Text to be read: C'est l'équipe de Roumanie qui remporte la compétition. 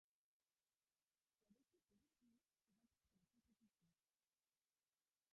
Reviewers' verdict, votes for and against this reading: rejected, 0, 2